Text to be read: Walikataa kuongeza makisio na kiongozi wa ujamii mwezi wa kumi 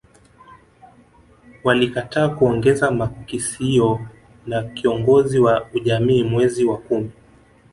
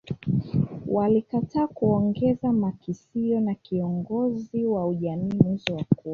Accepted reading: first